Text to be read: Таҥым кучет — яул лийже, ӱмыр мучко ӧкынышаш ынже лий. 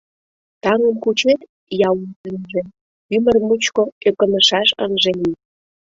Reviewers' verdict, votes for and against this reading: rejected, 0, 2